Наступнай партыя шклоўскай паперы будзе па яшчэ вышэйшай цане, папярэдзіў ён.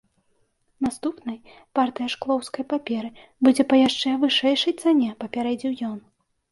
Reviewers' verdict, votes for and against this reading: accepted, 2, 0